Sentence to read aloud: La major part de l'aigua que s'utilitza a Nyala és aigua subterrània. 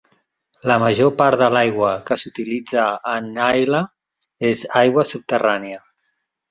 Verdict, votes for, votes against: rejected, 2, 5